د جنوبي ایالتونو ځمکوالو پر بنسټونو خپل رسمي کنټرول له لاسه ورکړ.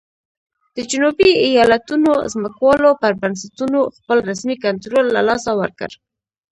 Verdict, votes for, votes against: rejected, 1, 2